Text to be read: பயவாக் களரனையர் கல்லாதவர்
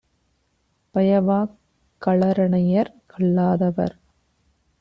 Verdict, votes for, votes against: accepted, 2, 0